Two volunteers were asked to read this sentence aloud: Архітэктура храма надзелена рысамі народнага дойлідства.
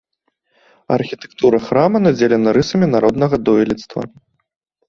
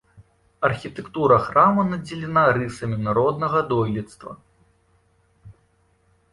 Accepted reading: first